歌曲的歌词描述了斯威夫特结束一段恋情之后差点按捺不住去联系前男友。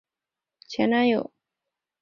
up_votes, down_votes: 0, 3